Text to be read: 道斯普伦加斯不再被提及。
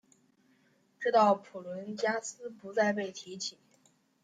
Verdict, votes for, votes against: rejected, 1, 2